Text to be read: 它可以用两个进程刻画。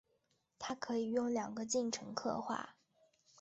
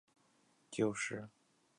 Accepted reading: first